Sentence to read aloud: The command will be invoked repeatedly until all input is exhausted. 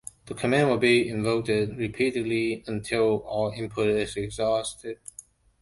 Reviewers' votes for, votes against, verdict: 1, 2, rejected